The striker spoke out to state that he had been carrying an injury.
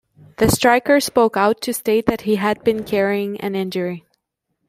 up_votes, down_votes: 2, 0